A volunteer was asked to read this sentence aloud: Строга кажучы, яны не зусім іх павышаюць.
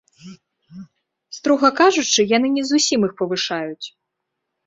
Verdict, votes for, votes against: accepted, 2, 0